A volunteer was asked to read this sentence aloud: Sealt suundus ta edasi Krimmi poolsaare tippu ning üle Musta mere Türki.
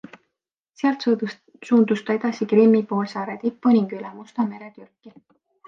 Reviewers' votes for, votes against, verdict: 2, 0, accepted